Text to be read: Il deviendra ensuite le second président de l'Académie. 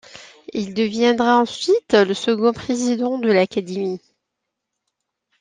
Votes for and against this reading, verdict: 2, 1, accepted